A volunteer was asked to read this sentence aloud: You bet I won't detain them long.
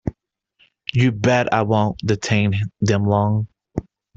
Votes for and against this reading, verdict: 1, 2, rejected